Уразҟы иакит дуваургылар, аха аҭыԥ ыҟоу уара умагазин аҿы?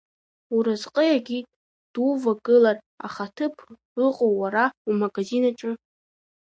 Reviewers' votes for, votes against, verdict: 2, 1, accepted